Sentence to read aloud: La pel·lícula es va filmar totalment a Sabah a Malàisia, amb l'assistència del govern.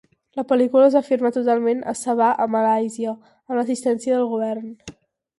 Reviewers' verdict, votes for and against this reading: accepted, 6, 0